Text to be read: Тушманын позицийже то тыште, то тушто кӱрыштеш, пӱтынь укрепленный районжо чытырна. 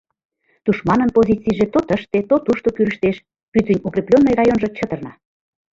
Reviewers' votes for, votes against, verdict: 2, 1, accepted